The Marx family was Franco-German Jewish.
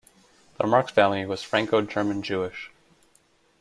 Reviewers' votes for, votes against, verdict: 2, 0, accepted